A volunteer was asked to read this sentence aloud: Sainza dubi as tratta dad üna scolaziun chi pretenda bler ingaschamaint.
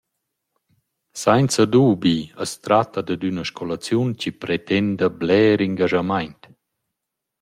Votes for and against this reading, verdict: 2, 0, accepted